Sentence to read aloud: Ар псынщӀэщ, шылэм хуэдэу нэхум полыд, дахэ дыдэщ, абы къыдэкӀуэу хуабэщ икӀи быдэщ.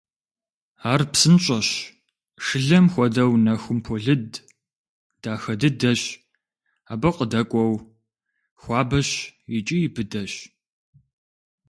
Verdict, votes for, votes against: accepted, 2, 0